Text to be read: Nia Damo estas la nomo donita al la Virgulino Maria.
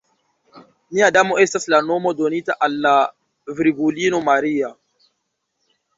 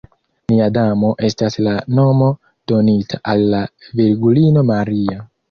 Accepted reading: first